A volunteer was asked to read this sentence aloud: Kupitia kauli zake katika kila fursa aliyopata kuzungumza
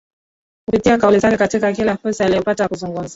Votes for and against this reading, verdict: 0, 2, rejected